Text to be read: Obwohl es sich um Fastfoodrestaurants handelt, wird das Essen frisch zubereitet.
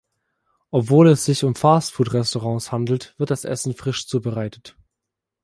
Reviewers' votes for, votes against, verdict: 2, 0, accepted